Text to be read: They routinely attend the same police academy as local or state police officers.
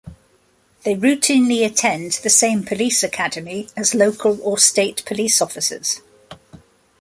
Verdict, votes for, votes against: accepted, 2, 0